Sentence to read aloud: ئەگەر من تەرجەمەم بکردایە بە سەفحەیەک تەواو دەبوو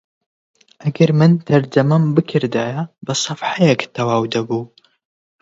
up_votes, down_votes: 20, 0